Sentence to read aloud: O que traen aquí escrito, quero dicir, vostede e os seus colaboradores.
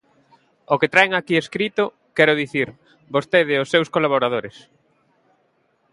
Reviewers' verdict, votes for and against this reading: accepted, 2, 0